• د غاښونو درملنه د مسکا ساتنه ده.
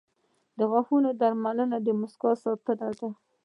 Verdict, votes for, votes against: accepted, 2, 0